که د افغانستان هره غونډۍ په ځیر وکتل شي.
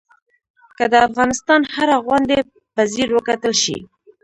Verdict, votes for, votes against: rejected, 0, 2